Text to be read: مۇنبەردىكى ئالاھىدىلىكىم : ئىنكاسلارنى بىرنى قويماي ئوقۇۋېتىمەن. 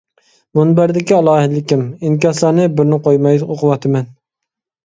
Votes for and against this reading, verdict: 1, 2, rejected